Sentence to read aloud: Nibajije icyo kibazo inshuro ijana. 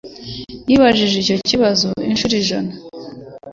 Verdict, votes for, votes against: accepted, 4, 0